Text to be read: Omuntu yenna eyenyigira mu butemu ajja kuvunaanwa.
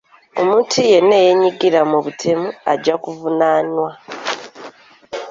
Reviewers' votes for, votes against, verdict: 2, 1, accepted